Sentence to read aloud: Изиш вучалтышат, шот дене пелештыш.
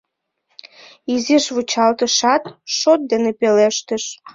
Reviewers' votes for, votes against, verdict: 2, 0, accepted